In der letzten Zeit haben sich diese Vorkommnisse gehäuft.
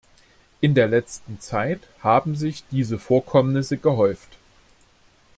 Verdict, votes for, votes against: accepted, 2, 0